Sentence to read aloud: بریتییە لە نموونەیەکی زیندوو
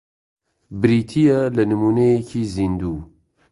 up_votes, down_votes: 2, 0